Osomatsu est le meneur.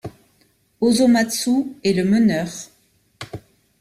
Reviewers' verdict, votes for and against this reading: accepted, 2, 0